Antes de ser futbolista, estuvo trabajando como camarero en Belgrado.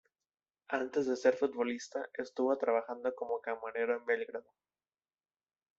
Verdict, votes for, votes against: rejected, 1, 2